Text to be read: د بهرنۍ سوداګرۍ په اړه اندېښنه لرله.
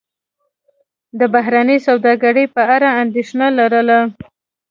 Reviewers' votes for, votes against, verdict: 2, 0, accepted